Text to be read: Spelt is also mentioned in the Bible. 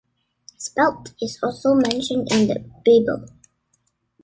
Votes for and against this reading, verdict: 2, 0, accepted